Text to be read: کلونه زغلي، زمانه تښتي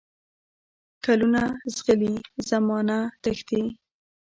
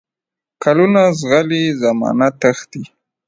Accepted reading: second